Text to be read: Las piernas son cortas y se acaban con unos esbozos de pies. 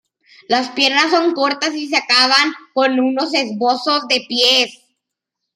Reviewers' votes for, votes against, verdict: 2, 0, accepted